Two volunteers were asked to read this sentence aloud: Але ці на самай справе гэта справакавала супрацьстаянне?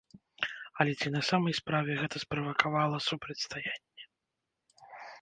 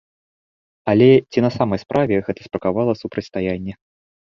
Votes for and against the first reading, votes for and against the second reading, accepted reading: 1, 2, 2, 0, second